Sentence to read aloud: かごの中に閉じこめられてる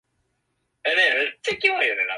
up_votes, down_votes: 0, 2